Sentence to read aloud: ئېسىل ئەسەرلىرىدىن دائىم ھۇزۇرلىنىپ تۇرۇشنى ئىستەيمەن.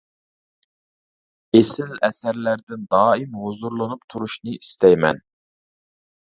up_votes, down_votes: 0, 2